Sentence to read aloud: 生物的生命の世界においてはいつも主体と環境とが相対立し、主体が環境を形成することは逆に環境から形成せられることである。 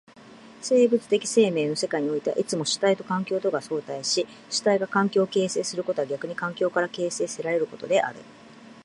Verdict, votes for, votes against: rejected, 0, 2